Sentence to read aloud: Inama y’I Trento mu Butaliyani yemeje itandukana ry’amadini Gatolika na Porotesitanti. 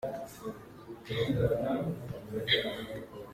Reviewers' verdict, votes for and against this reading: rejected, 0, 2